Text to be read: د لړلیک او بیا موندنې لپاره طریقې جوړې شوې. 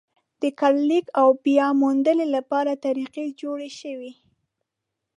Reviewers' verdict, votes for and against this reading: rejected, 0, 3